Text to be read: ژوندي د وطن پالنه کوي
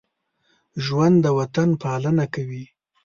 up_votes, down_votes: 1, 2